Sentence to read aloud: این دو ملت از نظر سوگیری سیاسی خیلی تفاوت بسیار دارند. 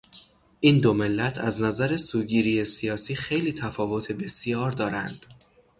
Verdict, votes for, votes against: accepted, 3, 0